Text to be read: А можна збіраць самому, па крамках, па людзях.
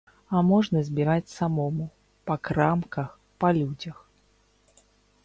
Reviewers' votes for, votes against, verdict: 2, 0, accepted